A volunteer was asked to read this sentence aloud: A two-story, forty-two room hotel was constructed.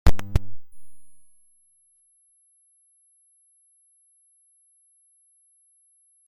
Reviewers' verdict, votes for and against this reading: rejected, 0, 2